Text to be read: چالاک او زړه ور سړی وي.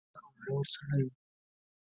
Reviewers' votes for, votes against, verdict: 0, 2, rejected